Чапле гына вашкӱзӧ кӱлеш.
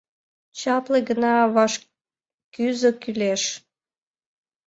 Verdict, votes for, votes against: accepted, 2, 0